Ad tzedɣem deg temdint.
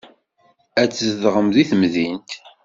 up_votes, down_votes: 2, 0